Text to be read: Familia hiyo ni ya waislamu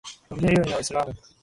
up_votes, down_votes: 0, 2